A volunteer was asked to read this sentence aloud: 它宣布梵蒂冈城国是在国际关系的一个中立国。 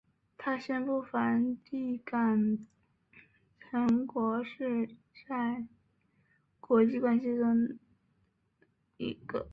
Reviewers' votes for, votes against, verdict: 1, 2, rejected